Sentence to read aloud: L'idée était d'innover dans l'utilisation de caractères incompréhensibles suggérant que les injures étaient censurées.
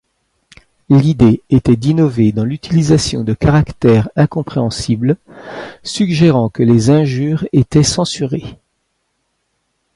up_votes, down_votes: 2, 0